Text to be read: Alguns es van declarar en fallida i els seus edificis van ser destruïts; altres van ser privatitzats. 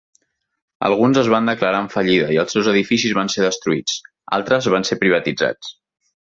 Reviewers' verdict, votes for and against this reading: accepted, 2, 0